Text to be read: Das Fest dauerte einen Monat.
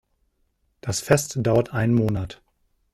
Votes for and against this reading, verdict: 1, 2, rejected